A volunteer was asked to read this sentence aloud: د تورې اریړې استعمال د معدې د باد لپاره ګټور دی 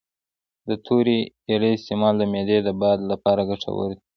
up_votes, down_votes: 0, 2